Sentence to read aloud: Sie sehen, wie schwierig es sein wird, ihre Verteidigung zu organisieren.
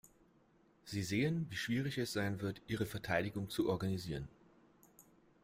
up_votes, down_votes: 1, 2